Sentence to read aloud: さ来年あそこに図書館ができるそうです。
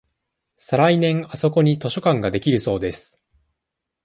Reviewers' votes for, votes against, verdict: 2, 0, accepted